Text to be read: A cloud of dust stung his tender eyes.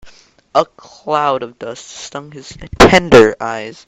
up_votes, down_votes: 0, 2